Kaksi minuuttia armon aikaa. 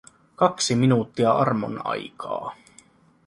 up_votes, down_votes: 2, 0